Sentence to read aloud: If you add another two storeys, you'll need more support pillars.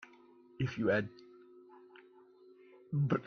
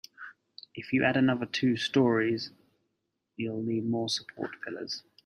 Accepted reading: second